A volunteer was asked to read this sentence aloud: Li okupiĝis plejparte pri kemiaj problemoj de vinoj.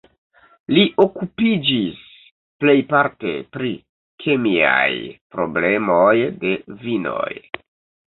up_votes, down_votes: 1, 2